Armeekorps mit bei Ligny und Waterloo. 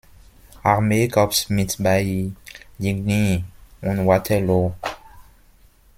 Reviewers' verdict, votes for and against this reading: rejected, 0, 2